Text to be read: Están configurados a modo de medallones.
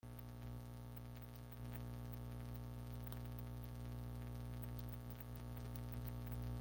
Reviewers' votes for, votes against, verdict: 0, 2, rejected